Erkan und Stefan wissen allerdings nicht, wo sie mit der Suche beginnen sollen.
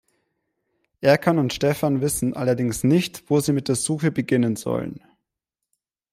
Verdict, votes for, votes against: accepted, 2, 0